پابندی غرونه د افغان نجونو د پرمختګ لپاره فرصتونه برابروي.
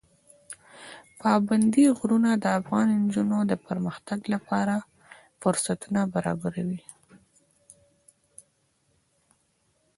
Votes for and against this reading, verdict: 2, 0, accepted